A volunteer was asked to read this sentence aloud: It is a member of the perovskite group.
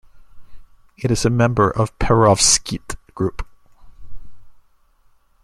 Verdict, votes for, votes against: rejected, 0, 2